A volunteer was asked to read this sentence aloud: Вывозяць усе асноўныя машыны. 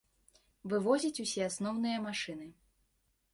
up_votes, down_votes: 2, 1